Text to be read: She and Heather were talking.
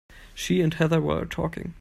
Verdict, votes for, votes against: accepted, 2, 0